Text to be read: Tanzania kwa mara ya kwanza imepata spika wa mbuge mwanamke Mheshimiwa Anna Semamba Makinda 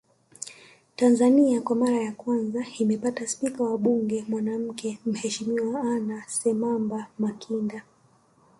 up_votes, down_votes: 2, 0